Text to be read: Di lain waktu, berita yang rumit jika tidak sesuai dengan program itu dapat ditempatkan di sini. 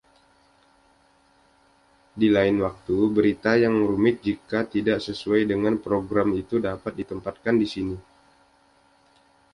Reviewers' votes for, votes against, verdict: 2, 0, accepted